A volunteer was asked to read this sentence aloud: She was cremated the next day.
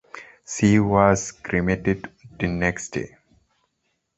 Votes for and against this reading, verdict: 3, 2, accepted